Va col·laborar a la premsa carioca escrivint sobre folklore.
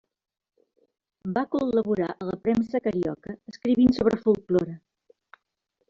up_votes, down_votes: 1, 2